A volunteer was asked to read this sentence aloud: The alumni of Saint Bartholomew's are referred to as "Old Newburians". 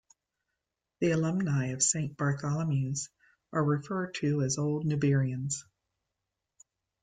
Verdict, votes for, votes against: accepted, 2, 0